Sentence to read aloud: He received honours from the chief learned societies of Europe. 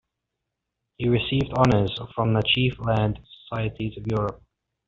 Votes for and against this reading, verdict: 2, 0, accepted